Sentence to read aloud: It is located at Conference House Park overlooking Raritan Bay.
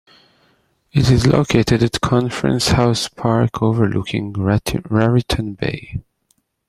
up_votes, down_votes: 0, 2